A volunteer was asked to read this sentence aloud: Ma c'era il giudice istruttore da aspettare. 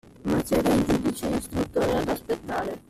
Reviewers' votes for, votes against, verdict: 1, 2, rejected